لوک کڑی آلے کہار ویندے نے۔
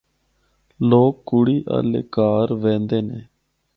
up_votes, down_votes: 4, 0